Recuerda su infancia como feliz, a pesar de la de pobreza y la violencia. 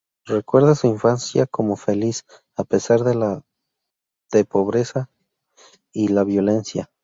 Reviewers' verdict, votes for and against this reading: accepted, 2, 0